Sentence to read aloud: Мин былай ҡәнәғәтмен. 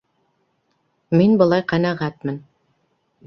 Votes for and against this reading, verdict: 2, 0, accepted